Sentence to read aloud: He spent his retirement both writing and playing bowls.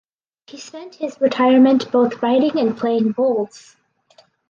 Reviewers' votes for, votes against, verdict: 4, 0, accepted